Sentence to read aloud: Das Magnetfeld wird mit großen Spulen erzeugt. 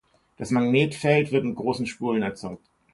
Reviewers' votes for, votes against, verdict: 2, 0, accepted